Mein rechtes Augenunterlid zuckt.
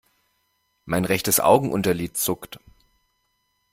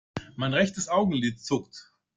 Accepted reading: first